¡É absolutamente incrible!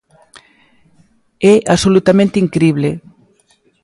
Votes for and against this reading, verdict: 3, 0, accepted